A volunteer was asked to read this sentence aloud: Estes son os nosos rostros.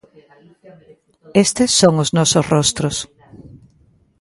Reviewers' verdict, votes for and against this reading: accepted, 2, 0